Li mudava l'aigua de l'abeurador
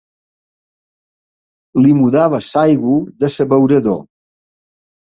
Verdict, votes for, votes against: rejected, 0, 2